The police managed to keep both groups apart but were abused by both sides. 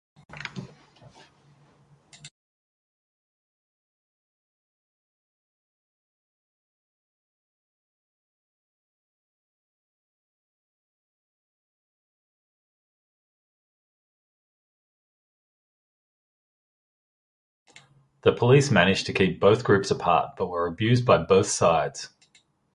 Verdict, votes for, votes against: rejected, 1, 3